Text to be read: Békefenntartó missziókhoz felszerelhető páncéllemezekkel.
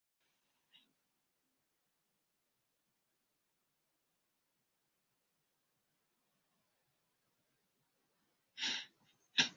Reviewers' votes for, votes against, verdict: 0, 2, rejected